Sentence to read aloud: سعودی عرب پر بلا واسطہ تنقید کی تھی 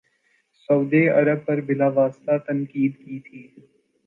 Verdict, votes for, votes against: accepted, 2, 0